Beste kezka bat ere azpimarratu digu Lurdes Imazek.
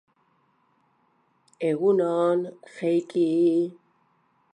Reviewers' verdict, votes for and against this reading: rejected, 0, 3